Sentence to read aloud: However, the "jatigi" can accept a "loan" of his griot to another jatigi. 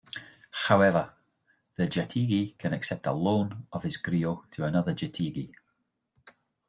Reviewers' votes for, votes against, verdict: 1, 2, rejected